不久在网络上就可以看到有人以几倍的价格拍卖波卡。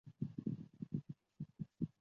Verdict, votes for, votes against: rejected, 0, 2